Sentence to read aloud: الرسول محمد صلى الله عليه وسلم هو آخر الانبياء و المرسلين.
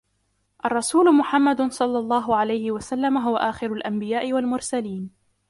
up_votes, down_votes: 2, 0